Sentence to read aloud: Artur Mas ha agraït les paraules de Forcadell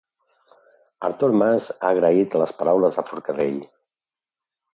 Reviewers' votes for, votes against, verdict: 2, 0, accepted